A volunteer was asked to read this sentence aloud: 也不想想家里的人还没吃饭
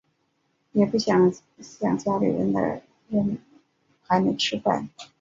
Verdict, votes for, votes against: accepted, 2, 1